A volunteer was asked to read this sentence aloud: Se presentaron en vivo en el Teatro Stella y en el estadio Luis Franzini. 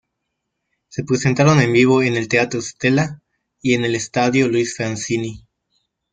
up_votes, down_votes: 1, 2